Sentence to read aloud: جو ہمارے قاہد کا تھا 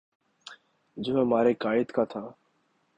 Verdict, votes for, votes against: accepted, 17, 0